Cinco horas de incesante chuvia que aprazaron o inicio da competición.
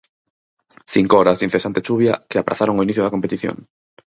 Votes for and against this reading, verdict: 6, 0, accepted